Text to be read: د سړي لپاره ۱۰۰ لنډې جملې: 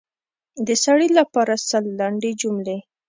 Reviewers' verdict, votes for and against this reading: rejected, 0, 2